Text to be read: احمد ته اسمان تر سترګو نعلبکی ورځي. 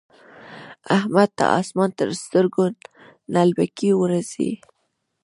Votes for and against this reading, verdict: 0, 2, rejected